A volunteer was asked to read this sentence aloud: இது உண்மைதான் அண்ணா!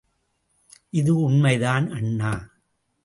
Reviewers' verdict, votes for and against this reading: accepted, 2, 0